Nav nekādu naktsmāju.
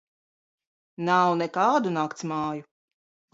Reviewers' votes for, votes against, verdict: 2, 0, accepted